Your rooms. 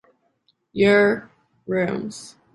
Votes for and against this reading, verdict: 2, 0, accepted